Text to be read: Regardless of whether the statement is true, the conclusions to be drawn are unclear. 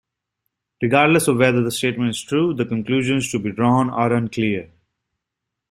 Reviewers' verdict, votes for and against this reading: accepted, 2, 0